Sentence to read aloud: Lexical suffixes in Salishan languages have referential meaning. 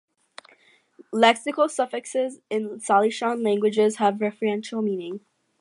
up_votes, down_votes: 4, 0